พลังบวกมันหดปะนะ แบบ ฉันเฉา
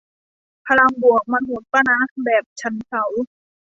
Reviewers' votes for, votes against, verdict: 1, 2, rejected